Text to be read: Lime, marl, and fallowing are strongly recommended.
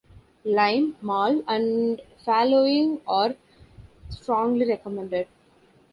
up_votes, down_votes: 1, 2